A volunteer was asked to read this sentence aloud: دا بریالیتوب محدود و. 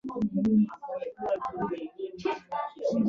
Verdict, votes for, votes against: rejected, 1, 2